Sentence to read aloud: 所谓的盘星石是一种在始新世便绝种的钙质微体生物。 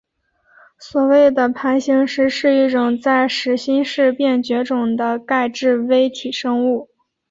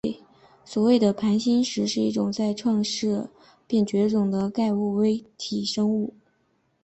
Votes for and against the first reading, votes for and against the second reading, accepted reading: 4, 0, 1, 2, first